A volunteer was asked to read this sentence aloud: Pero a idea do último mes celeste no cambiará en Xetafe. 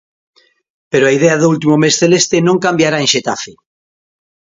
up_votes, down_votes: 2, 1